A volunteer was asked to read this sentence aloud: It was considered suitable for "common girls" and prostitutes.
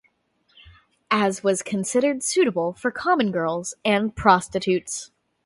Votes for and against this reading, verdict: 0, 2, rejected